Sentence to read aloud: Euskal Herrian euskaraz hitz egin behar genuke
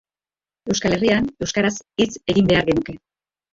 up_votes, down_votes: 0, 2